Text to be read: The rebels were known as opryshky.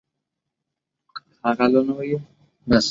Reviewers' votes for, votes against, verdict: 0, 2, rejected